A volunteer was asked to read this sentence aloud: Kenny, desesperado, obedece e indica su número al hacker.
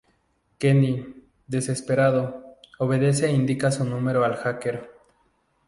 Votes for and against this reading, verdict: 4, 0, accepted